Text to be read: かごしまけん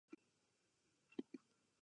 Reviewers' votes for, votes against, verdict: 0, 2, rejected